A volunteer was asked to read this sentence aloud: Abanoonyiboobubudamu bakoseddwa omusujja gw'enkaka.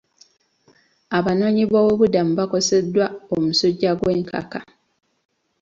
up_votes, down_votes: 2, 0